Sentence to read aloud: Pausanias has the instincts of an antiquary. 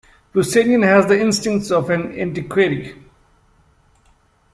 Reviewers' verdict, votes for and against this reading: rejected, 1, 2